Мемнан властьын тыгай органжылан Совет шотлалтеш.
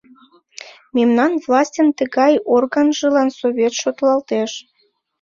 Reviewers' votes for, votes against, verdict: 2, 0, accepted